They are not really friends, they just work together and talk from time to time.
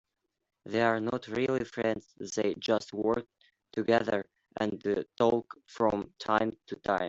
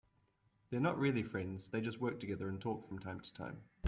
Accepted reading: second